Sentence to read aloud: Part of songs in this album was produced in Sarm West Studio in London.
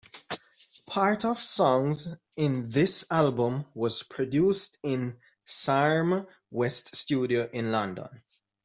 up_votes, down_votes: 2, 0